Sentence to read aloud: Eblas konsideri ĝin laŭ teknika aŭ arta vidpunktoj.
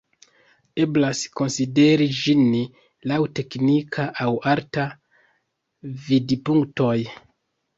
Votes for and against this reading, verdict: 2, 0, accepted